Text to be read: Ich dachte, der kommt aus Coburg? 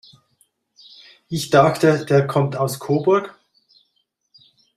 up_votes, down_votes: 2, 0